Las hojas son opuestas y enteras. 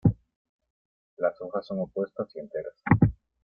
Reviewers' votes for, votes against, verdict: 2, 1, accepted